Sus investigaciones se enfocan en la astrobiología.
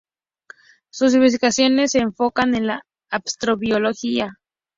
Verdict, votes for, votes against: rejected, 0, 2